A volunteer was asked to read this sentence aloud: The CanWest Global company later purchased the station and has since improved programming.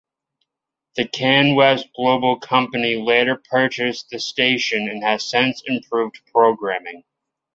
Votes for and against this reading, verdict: 2, 0, accepted